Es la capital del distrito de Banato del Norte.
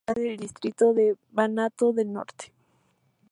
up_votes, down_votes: 0, 2